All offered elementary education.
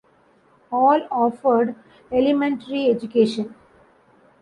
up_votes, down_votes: 2, 1